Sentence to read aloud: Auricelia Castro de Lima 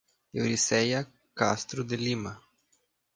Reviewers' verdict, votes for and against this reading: rejected, 0, 2